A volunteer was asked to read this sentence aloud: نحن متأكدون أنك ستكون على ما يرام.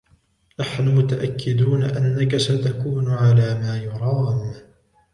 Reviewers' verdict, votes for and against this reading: rejected, 0, 2